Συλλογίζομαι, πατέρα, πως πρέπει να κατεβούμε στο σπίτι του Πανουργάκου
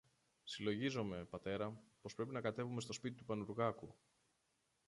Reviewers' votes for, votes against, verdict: 0, 2, rejected